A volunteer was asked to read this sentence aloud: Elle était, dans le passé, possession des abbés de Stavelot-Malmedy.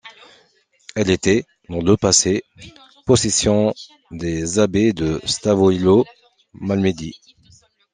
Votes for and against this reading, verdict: 2, 0, accepted